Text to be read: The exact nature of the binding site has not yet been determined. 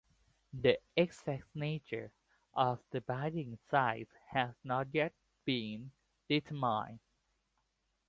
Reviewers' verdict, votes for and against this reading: rejected, 1, 2